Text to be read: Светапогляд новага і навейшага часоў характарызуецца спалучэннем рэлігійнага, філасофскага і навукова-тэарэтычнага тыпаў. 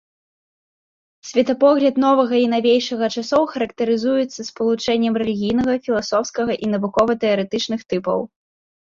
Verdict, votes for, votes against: rejected, 0, 2